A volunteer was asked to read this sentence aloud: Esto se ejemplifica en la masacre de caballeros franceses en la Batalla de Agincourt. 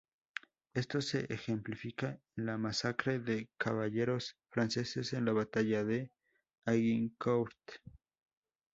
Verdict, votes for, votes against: rejected, 0, 2